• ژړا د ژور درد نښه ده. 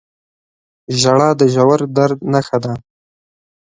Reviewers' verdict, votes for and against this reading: accepted, 4, 0